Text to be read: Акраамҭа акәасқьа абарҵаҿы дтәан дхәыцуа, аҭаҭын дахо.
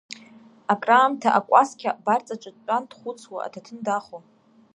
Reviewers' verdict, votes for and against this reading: accepted, 2, 1